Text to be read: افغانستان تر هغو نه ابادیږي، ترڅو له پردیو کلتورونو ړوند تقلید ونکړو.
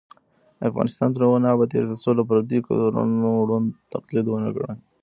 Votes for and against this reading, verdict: 1, 2, rejected